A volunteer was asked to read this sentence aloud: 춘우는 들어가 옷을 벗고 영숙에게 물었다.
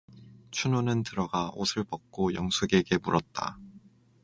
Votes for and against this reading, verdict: 4, 0, accepted